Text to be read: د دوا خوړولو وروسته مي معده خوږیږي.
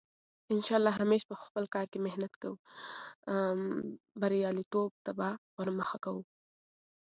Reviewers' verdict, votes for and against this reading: rejected, 1, 2